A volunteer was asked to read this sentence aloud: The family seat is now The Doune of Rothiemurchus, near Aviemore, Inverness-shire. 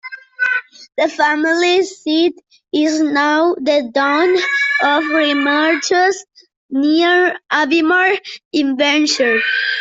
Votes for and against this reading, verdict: 0, 2, rejected